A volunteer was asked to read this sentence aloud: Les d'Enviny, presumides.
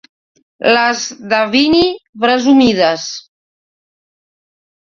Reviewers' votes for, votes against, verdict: 1, 2, rejected